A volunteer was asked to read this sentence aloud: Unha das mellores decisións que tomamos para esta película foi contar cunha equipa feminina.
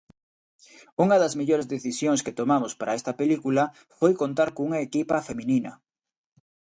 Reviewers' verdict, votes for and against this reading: accepted, 2, 0